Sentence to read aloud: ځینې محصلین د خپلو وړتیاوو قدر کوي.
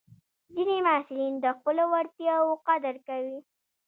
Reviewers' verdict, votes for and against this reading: rejected, 0, 2